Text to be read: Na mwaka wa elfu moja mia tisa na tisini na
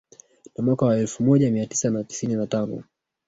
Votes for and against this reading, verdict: 2, 0, accepted